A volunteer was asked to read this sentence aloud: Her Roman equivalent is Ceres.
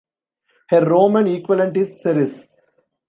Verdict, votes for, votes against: rejected, 0, 2